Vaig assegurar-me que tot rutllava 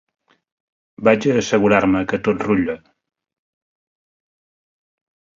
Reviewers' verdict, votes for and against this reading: accepted, 2, 1